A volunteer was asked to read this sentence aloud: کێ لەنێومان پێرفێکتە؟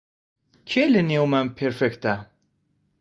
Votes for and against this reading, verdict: 2, 0, accepted